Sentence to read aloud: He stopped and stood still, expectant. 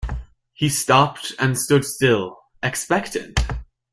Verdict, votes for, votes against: rejected, 1, 2